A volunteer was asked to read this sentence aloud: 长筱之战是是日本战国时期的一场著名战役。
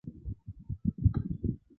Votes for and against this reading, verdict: 0, 4, rejected